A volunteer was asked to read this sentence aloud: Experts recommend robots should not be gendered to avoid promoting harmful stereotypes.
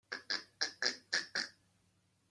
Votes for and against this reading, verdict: 0, 2, rejected